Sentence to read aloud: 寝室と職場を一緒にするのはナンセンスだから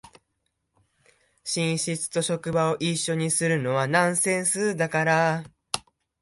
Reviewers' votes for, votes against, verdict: 2, 0, accepted